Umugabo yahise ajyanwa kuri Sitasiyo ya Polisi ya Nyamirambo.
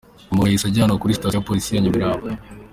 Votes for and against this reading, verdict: 2, 1, accepted